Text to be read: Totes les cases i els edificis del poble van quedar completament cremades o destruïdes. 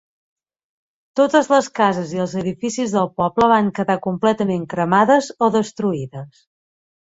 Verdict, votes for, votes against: accepted, 3, 0